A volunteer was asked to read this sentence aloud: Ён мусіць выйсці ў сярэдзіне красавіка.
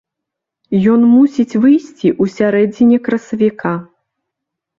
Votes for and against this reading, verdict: 2, 0, accepted